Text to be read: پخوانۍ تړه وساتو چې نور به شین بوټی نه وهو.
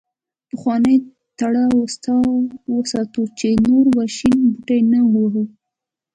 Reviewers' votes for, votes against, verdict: 0, 2, rejected